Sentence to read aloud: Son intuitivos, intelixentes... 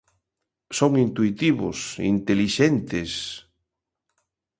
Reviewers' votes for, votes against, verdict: 2, 0, accepted